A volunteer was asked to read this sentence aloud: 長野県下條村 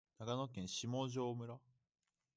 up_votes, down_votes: 2, 0